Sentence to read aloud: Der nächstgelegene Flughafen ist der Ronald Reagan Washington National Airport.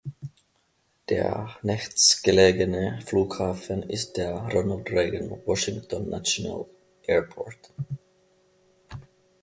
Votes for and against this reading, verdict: 1, 2, rejected